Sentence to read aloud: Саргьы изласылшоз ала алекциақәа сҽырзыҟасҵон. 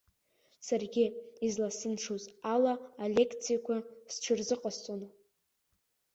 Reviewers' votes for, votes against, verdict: 2, 1, accepted